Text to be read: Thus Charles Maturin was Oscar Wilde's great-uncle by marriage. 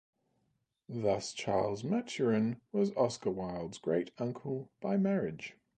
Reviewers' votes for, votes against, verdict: 4, 0, accepted